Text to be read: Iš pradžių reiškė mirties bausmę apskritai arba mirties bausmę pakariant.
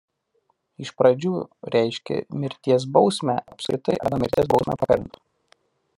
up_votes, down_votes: 0, 2